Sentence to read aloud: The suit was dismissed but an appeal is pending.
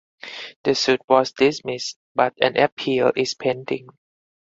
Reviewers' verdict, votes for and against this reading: accepted, 4, 0